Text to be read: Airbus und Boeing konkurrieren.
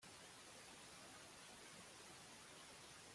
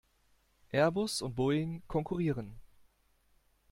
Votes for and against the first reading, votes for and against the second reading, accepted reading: 0, 2, 2, 0, second